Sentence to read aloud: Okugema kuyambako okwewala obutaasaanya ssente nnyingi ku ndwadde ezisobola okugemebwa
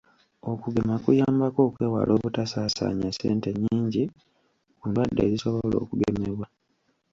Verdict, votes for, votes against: rejected, 1, 2